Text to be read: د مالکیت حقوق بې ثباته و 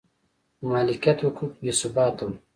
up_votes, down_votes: 3, 1